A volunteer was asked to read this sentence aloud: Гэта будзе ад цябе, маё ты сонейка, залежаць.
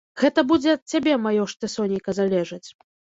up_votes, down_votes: 1, 2